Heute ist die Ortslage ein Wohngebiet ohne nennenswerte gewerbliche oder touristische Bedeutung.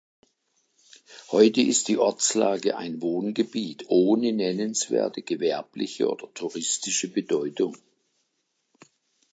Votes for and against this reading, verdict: 3, 0, accepted